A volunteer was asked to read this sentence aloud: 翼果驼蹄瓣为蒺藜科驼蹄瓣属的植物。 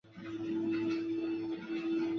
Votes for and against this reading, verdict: 0, 3, rejected